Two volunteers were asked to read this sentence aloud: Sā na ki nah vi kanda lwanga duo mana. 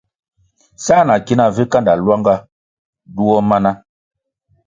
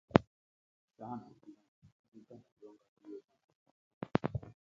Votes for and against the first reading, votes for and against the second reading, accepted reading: 2, 0, 0, 2, first